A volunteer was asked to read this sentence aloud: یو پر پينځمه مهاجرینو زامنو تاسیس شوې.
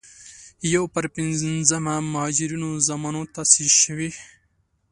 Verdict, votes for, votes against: accepted, 2, 0